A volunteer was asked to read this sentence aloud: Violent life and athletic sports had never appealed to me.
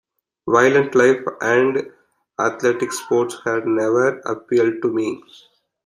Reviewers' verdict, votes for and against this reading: accepted, 2, 1